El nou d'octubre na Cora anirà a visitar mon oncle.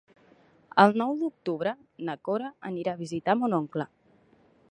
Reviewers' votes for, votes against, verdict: 2, 0, accepted